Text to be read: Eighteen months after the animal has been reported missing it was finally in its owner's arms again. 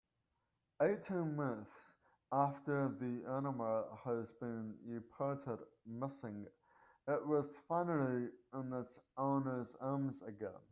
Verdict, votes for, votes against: accepted, 2, 1